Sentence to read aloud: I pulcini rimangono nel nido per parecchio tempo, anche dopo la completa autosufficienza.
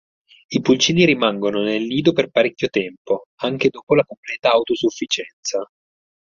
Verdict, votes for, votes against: accepted, 4, 0